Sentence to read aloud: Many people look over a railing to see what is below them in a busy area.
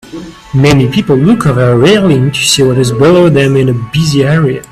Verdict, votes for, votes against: accepted, 2, 0